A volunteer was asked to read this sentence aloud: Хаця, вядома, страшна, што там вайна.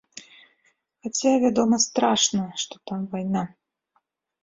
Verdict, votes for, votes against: accepted, 2, 0